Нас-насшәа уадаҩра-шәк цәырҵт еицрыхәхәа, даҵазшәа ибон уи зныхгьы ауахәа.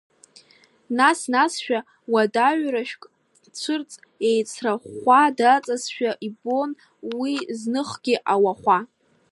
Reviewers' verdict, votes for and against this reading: accepted, 2, 1